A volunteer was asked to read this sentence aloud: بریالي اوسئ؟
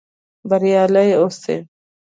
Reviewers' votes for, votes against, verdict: 2, 0, accepted